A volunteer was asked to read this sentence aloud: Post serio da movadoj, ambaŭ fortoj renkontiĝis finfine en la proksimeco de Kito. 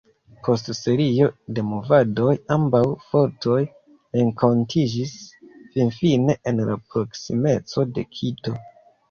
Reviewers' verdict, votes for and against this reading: accepted, 2, 0